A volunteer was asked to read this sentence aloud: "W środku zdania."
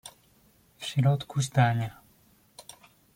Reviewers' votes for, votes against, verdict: 2, 0, accepted